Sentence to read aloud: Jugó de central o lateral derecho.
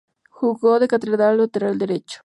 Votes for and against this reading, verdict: 0, 2, rejected